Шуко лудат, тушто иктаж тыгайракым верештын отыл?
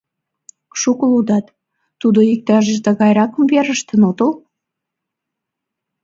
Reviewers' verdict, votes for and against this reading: rejected, 1, 2